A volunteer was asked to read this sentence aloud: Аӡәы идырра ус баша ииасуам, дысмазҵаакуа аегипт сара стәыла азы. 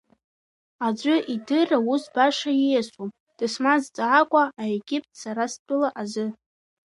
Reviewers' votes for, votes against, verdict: 2, 1, accepted